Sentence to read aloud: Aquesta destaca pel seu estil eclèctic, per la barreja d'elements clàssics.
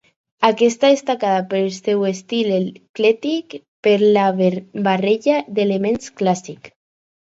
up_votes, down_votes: 2, 2